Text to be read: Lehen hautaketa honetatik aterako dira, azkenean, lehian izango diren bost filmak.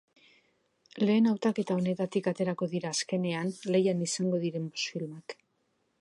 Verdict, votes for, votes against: accepted, 3, 0